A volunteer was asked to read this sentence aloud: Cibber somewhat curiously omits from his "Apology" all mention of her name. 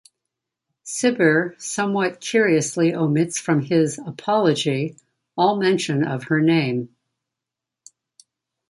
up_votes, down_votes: 2, 0